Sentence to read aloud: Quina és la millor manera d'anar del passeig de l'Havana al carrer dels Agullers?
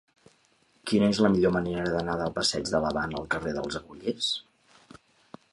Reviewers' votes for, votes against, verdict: 3, 0, accepted